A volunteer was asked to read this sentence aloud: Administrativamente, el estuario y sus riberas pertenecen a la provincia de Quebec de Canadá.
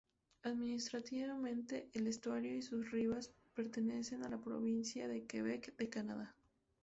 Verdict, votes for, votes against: rejected, 0, 2